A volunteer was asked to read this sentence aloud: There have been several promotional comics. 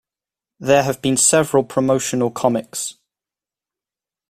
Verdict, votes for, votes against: accepted, 2, 0